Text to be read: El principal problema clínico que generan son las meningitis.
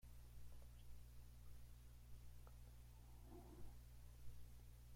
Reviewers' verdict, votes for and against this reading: rejected, 0, 2